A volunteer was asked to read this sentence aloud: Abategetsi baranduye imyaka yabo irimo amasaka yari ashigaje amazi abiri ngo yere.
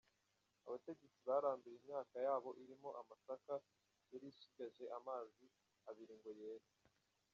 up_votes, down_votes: 1, 2